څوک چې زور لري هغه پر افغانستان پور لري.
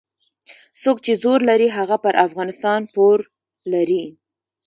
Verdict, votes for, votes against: accepted, 2, 0